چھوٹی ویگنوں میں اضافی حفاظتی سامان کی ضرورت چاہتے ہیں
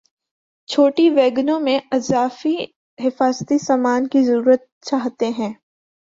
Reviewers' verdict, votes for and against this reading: accepted, 2, 0